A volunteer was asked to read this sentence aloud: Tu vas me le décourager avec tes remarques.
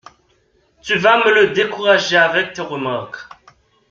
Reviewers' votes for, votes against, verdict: 1, 2, rejected